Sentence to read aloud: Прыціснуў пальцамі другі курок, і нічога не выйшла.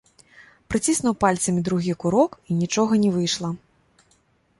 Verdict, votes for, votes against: accepted, 2, 0